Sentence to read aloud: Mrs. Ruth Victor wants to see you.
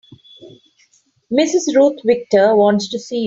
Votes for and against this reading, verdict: 0, 3, rejected